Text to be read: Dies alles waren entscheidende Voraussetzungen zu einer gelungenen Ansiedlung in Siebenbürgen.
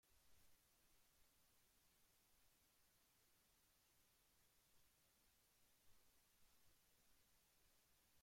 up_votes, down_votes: 0, 2